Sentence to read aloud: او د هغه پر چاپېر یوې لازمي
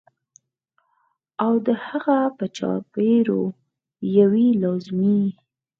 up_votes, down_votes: 2, 4